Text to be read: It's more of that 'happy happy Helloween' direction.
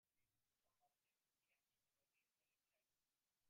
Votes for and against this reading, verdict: 0, 2, rejected